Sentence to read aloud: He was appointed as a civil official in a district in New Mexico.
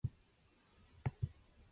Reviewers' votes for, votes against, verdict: 0, 2, rejected